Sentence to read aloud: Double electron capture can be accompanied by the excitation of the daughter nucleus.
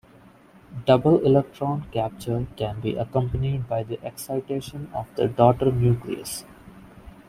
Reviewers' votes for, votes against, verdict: 2, 0, accepted